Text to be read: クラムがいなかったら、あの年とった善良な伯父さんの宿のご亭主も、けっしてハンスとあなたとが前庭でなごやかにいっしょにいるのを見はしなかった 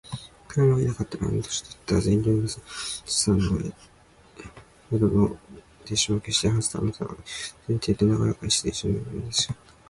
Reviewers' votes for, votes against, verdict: 1, 2, rejected